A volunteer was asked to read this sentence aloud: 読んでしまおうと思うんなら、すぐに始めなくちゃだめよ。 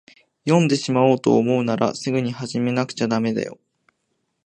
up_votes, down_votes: 1, 2